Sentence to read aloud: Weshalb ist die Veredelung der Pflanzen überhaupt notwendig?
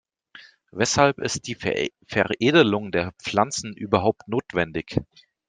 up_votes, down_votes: 1, 2